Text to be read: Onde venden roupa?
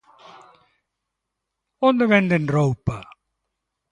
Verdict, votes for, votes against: accepted, 2, 0